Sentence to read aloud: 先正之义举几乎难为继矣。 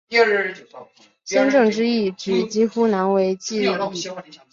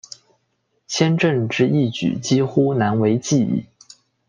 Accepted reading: second